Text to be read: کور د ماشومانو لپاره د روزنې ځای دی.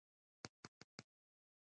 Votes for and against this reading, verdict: 0, 2, rejected